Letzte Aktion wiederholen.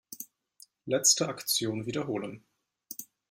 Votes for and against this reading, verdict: 2, 0, accepted